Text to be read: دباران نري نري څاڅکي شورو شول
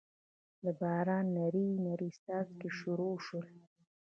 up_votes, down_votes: 2, 1